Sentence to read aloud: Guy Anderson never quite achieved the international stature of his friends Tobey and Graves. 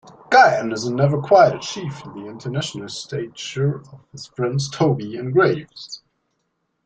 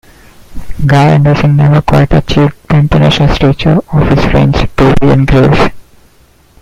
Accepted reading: first